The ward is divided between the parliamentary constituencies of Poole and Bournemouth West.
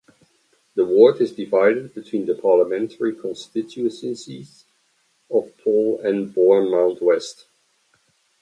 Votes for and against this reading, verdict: 2, 0, accepted